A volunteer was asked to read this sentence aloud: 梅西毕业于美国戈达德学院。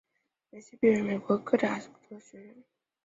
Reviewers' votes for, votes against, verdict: 4, 6, rejected